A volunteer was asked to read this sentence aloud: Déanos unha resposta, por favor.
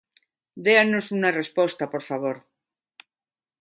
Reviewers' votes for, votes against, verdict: 2, 1, accepted